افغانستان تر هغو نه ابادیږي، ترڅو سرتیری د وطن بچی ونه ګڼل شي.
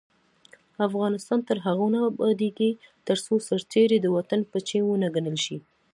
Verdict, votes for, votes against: accepted, 2, 0